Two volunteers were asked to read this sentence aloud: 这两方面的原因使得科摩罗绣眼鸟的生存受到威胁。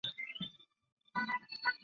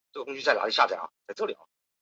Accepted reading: first